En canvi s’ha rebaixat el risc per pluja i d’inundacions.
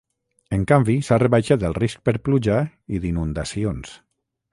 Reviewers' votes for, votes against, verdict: 3, 3, rejected